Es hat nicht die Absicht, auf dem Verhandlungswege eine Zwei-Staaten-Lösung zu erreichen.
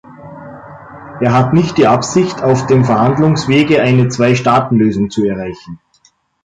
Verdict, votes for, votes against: rejected, 1, 2